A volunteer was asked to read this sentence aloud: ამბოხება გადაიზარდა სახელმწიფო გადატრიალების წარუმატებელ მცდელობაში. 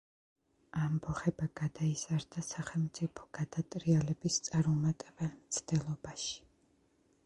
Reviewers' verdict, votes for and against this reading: accepted, 2, 0